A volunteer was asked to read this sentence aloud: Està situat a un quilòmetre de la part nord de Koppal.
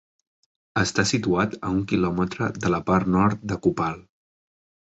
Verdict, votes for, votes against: accepted, 2, 0